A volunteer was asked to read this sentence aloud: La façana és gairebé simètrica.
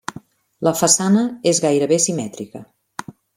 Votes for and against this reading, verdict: 3, 0, accepted